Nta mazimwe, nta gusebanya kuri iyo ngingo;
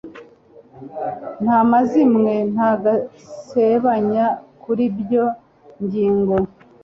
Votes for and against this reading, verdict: 0, 2, rejected